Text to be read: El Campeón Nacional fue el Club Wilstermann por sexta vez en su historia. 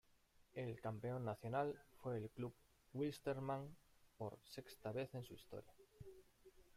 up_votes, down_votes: 1, 2